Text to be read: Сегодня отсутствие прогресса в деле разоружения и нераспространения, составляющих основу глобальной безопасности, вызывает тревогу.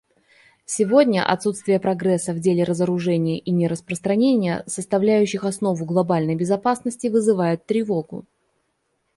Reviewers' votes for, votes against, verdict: 2, 1, accepted